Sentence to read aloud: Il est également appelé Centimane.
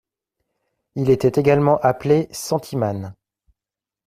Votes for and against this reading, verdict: 0, 2, rejected